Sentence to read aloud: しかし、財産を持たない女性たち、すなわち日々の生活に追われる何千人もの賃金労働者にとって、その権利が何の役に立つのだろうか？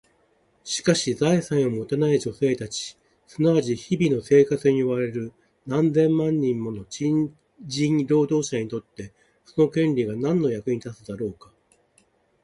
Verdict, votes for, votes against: rejected, 1, 2